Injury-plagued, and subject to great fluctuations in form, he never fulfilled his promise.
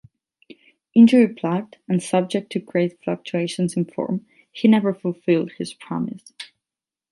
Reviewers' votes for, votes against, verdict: 8, 0, accepted